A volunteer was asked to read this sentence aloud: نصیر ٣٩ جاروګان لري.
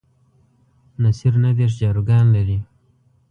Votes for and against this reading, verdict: 0, 2, rejected